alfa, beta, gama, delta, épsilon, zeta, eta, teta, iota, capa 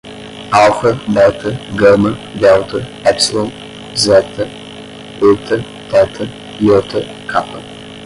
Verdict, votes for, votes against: rejected, 0, 5